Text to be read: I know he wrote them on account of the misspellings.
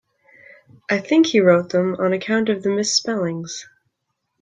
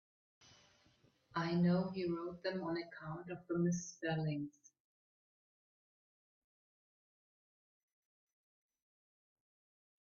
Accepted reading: second